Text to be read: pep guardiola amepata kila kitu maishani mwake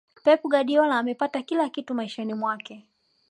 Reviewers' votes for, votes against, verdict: 2, 0, accepted